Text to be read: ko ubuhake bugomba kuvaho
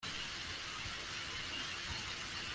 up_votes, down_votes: 0, 2